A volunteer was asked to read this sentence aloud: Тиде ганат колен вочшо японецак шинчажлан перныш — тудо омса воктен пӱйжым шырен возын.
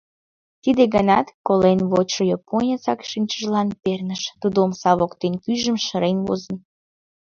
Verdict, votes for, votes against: rejected, 1, 2